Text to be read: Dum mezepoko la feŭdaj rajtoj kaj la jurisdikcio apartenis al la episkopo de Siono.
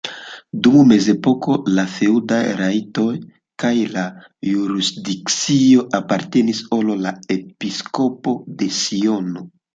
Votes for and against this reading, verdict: 0, 2, rejected